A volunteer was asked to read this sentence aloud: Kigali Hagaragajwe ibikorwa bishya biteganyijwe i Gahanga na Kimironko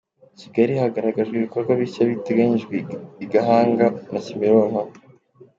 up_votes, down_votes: 3, 0